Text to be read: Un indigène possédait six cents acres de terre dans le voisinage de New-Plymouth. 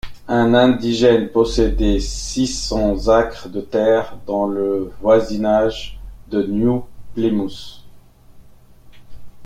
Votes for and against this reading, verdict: 1, 2, rejected